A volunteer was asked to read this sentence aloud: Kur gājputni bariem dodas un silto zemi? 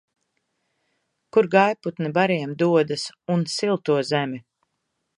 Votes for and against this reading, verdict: 2, 0, accepted